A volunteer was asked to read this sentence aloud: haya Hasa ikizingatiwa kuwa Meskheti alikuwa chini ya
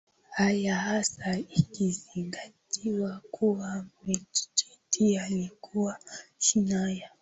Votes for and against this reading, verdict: 5, 2, accepted